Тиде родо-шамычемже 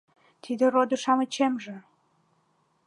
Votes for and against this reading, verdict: 2, 0, accepted